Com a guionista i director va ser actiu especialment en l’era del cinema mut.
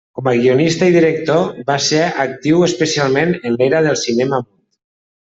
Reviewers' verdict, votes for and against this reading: rejected, 1, 2